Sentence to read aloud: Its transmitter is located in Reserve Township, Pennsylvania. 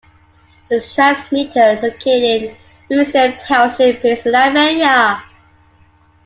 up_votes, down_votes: 1, 2